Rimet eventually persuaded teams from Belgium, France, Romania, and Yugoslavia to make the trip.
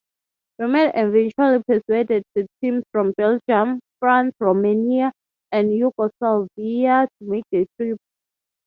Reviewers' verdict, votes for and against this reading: rejected, 0, 3